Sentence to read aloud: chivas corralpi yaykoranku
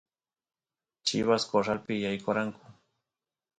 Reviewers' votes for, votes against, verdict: 2, 0, accepted